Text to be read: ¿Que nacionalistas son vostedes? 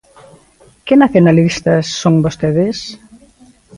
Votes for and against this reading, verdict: 2, 0, accepted